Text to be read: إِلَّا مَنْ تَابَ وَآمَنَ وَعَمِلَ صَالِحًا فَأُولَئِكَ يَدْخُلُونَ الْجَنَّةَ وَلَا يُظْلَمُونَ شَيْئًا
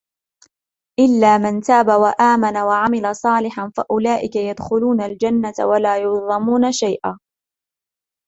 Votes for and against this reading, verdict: 0, 2, rejected